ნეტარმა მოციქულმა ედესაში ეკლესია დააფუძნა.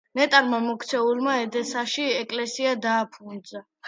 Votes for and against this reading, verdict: 0, 2, rejected